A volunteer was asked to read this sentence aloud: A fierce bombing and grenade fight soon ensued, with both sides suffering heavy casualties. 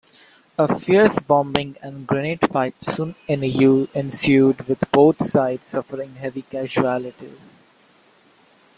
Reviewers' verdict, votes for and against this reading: rejected, 0, 2